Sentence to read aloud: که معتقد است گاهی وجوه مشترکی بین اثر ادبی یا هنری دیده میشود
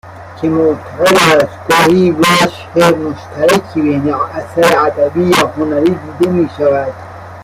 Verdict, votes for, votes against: rejected, 0, 2